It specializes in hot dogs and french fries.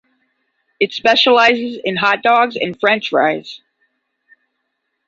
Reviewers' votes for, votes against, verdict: 10, 0, accepted